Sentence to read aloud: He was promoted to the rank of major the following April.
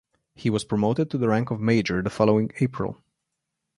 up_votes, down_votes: 2, 0